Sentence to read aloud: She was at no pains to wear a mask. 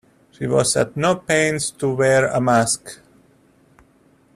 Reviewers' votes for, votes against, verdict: 2, 0, accepted